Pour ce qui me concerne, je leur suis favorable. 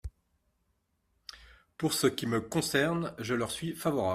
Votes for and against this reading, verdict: 1, 2, rejected